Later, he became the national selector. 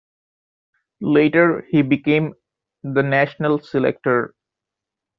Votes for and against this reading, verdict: 2, 0, accepted